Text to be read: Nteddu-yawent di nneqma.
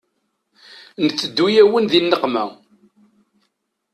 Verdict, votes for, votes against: rejected, 1, 2